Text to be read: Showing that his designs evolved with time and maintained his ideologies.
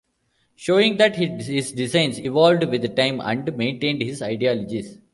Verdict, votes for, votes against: rejected, 1, 2